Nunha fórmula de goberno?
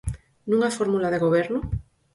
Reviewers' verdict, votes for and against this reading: accepted, 4, 2